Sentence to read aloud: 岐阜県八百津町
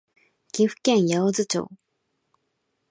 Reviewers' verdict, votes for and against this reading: rejected, 0, 2